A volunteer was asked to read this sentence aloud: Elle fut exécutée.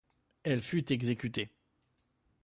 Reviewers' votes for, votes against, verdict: 2, 0, accepted